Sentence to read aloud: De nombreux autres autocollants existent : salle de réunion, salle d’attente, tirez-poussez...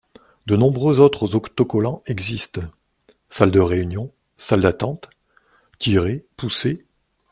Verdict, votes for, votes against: rejected, 1, 2